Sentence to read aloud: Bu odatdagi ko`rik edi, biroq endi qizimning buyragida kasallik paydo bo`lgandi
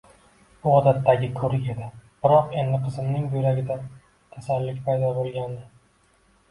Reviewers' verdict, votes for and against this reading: accepted, 2, 0